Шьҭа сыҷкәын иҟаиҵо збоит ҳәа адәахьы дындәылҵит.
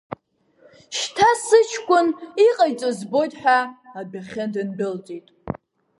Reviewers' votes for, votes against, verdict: 2, 1, accepted